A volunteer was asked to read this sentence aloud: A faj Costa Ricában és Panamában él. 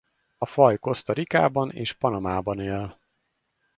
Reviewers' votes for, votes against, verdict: 2, 2, rejected